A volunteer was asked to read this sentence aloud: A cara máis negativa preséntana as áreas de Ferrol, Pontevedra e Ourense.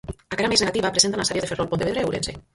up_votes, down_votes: 0, 4